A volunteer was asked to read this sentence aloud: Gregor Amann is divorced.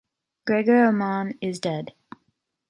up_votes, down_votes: 1, 3